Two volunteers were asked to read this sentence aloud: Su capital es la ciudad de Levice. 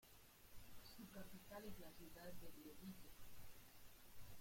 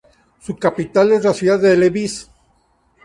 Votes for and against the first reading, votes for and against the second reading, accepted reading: 1, 2, 4, 0, second